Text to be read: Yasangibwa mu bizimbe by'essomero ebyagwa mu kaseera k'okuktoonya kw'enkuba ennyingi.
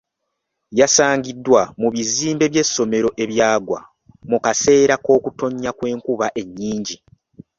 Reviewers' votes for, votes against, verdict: 0, 2, rejected